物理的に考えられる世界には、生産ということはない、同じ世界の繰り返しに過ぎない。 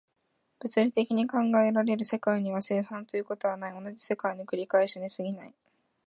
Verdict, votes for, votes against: accepted, 2, 1